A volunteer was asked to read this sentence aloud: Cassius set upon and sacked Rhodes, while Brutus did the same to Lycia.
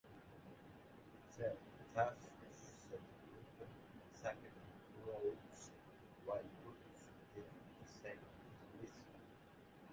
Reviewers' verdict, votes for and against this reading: rejected, 0, 2